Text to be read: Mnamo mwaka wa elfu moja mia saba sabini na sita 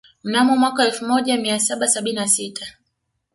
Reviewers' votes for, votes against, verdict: 2, 0, accepted